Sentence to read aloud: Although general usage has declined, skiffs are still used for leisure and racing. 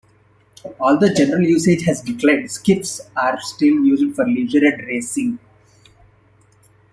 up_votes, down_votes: 0, 2